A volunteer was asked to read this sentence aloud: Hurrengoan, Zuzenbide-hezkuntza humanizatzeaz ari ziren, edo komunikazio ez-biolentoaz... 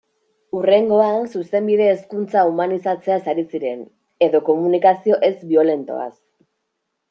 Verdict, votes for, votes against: accepted, 2, 0